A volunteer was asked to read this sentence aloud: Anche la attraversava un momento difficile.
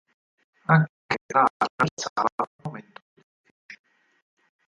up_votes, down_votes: 0, 4